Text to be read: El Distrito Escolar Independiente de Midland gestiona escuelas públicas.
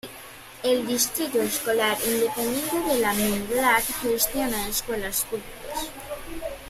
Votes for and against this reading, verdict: 2, 1, accepted